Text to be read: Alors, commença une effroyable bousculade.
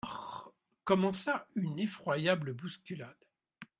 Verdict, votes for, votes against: rejected, 0, 2